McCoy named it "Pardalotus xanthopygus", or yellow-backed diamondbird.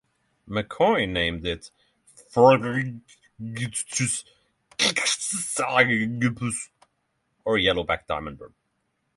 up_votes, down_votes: 0, 3